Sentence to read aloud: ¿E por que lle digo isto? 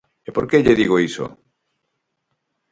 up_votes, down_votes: 0, 4